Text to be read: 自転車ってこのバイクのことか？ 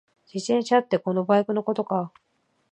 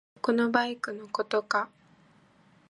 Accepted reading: first